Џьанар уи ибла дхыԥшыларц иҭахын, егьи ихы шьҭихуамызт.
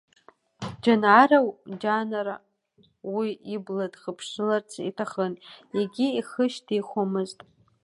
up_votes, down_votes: 0, 2